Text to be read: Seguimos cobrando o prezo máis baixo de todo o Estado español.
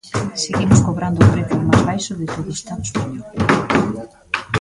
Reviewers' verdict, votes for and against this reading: rejected, 1, 2